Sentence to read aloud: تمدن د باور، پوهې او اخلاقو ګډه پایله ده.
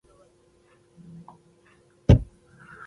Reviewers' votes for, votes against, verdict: 0, 2, rejected